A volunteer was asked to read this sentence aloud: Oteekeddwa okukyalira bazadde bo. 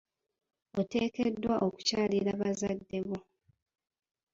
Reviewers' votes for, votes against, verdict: 2, 0, accepted